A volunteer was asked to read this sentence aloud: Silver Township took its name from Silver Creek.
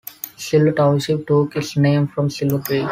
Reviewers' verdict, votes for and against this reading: rejected, 0, 2